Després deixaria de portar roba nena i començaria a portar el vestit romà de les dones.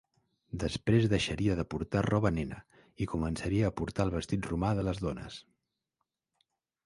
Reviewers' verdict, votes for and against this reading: accepted, 3, 0